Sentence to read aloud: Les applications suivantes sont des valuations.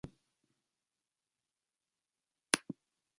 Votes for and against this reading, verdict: 1, 2, rejected